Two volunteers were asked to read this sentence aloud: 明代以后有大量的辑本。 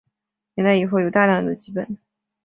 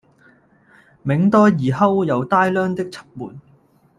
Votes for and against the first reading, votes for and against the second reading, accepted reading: 2, 0, 0, 2, first